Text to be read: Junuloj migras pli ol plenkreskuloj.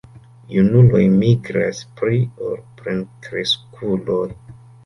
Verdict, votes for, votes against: rejected, 1, 2